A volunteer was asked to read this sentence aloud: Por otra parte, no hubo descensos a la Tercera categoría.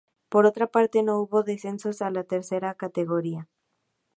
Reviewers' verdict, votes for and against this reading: accepted, 2, 0